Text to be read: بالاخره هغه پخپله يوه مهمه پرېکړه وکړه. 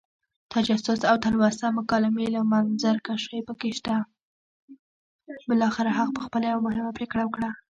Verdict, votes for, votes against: rejected, 1, 2